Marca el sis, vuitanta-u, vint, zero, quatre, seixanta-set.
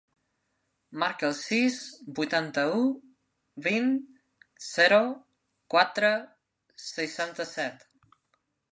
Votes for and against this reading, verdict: 3, 0, accepted